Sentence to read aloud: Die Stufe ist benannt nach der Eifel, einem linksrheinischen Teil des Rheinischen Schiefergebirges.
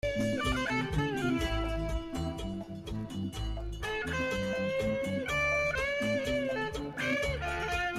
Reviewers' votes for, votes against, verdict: 0, 2, rejected